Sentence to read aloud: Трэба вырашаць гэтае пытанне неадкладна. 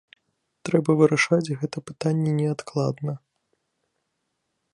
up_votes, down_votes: 1, 2